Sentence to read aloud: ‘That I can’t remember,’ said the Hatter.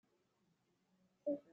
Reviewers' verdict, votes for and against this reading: rejected, 0, 3